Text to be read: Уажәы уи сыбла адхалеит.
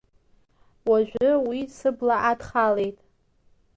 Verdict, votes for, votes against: accepted, 2, 0